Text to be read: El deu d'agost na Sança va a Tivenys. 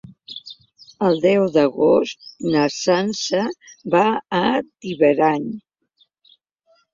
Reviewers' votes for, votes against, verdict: 1, 2, rejected